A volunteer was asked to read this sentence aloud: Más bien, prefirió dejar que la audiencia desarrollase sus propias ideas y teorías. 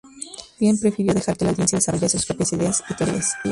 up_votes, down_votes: 0, 2